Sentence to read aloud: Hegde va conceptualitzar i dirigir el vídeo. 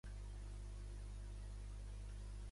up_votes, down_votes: 1, 2